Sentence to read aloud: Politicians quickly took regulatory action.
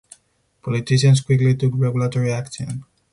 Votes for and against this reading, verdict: 2, 0, accepted